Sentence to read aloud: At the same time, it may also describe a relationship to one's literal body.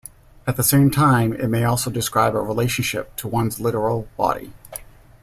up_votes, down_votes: 2, 0